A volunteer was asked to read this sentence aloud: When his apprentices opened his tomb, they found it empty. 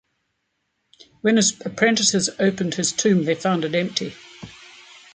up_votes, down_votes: 2, 0